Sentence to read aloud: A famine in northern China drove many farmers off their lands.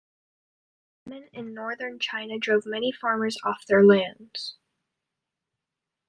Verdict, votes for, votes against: rejected, 1, 2